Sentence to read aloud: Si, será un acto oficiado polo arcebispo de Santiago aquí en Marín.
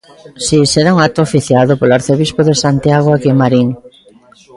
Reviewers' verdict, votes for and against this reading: accepted, 2, 0